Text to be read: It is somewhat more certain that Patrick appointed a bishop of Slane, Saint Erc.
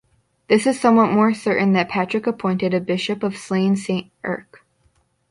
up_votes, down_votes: 1, 2